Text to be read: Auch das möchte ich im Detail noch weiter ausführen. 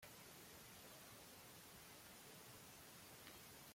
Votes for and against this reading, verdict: 0, 2, rejected